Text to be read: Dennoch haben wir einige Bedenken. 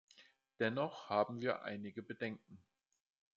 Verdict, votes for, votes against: accepted, 2, 0